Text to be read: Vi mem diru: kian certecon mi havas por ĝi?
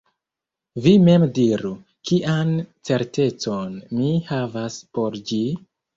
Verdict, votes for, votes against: rejected, 1, 2